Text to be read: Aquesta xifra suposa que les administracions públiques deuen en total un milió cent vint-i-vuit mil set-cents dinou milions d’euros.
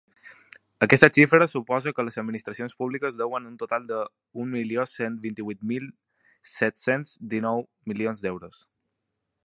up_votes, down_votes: 1, 2